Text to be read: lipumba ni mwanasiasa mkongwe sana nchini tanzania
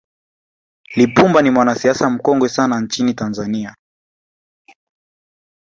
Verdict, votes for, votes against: accepted, 2, 0